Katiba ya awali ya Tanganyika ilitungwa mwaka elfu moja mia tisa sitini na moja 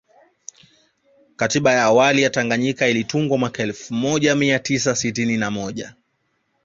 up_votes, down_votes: 0, 2